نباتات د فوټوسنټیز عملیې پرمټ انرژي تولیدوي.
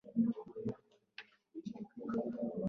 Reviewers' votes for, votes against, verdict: 1, 2, rejected